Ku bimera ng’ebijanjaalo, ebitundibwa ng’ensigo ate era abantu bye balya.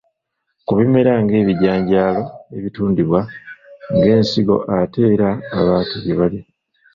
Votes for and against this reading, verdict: 0, 2, rejected